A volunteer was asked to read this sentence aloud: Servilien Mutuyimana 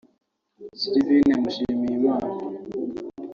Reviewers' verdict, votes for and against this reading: rejected, 1, 2